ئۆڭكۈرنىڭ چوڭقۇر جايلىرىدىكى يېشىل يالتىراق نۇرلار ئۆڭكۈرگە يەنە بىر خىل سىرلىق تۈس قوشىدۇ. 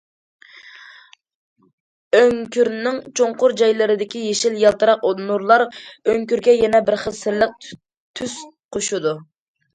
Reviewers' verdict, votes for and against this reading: rejected, 1, 2